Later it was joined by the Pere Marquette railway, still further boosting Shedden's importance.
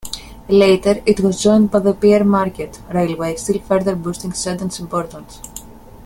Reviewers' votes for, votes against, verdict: 0, 2, rejected